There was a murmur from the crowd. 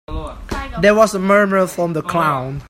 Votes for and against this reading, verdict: 0, 3, rejected